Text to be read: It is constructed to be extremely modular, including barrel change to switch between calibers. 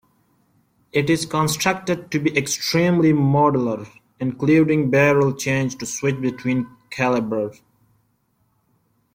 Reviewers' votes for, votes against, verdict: 2, 1, accepted